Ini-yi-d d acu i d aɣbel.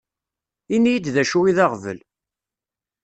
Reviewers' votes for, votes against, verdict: 2, 0, accepted